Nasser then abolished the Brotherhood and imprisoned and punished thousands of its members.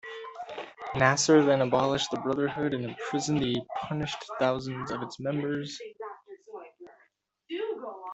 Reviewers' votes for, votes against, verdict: 0, 2, rejected